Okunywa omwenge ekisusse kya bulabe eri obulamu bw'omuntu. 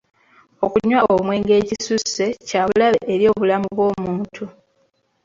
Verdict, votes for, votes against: accepted, 2, 0